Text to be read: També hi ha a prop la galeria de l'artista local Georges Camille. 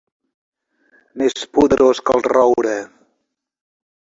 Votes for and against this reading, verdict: 1, 4, rejected